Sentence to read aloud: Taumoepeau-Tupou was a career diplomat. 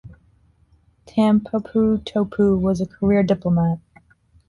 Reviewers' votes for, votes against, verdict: 2, 1, accepted